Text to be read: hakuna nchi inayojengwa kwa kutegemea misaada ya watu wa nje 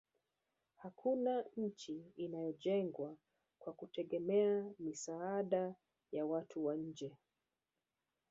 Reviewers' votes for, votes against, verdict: 1, 2, rejected